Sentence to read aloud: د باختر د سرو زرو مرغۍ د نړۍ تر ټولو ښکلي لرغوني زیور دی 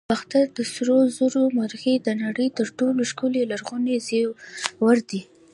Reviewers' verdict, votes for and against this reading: accepted, 2, 0